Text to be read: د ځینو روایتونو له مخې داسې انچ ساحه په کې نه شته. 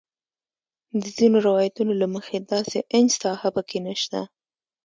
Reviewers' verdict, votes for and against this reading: accepted, 2, 0